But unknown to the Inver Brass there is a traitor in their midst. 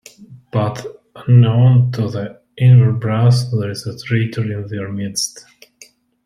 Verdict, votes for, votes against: rejected, 1, 2